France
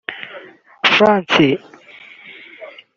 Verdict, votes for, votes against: rejected, 1, 2